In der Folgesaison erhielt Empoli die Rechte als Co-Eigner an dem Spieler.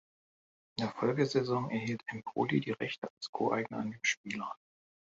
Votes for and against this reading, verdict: 1, 2, rejected